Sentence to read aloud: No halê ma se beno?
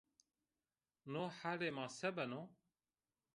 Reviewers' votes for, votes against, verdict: 1, 2, rejected